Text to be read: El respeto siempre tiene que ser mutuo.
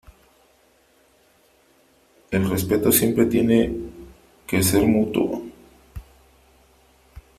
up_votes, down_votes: 3, 2